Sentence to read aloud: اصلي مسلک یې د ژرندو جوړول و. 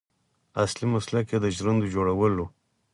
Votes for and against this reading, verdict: 2, 4, rejected